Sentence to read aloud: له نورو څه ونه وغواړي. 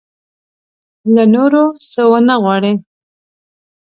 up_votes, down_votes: 2, 0